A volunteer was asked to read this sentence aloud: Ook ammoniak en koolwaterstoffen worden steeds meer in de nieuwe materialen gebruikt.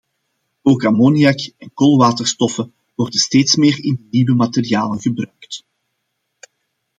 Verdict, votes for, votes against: accepted, 2, 1